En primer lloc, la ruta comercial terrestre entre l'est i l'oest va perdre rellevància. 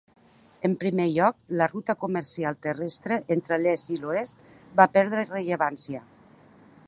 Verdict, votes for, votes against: accepted, 3, 0